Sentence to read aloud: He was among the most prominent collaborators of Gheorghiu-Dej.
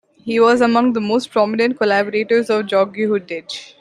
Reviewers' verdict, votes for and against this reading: accepted, 2, 0